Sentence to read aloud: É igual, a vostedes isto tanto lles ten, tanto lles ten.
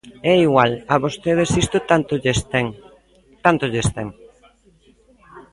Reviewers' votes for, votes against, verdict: 2, 0, accepted